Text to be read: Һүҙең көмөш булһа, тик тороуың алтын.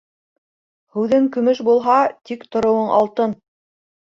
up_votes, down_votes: 4, 0